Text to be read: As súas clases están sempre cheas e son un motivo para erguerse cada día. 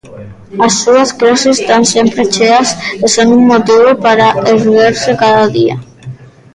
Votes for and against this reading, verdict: 0, 2, rejected